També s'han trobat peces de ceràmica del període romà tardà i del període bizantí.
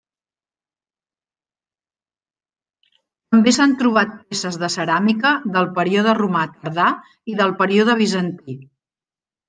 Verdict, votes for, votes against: accepted, 3, 0